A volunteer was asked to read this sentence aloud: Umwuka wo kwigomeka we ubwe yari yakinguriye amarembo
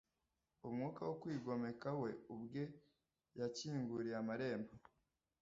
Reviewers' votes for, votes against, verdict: 1, 2, rejected